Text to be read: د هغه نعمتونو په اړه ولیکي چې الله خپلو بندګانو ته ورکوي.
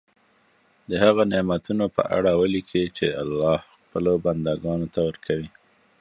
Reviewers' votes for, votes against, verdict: 2, 0, accepted